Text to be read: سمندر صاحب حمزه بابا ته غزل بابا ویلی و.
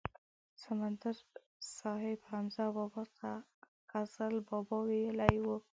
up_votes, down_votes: 1, 2